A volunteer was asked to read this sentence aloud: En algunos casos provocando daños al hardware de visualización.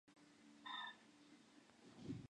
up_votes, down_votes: 2, 4